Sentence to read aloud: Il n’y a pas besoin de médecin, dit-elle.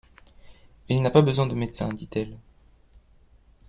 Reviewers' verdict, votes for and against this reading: rejected, 0, 2